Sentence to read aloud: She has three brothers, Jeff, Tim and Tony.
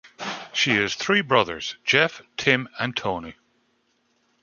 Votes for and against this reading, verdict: 2, 0, accepted